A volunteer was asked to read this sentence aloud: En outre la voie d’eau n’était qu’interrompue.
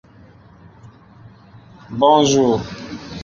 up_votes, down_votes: 0, 2